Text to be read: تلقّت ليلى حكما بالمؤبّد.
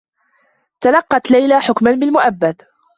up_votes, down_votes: 2, 0